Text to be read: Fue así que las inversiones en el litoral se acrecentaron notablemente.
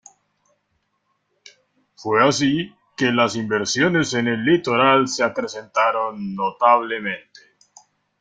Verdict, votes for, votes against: accepted, 2, 1